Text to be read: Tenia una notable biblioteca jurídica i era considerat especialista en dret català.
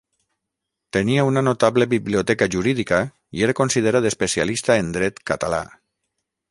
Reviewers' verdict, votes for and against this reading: accepted, 6, 0